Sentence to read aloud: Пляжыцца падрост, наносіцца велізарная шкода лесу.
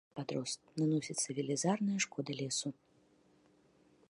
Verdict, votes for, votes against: rejected, 1, 2